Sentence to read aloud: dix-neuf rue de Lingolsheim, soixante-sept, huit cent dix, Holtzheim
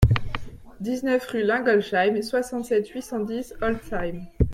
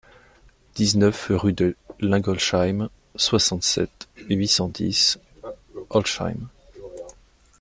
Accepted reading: first